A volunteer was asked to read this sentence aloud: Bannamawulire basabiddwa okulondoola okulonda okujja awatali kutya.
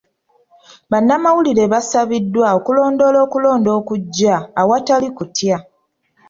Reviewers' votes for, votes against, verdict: 2, 0, accepted